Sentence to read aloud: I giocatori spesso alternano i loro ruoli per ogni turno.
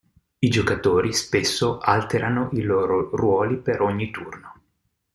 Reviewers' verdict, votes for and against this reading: rejected, 1, 2